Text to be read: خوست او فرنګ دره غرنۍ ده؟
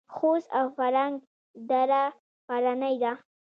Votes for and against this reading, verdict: 2, 1, accepted